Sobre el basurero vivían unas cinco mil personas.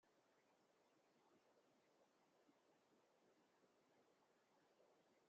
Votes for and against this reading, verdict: 0, 2, rejected